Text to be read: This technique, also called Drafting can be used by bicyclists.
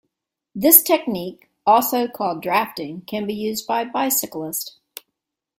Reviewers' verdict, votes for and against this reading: accepted, 2, 0